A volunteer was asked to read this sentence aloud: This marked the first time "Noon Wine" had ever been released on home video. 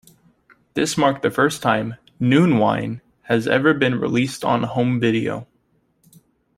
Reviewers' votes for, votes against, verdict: 1, 2, rejected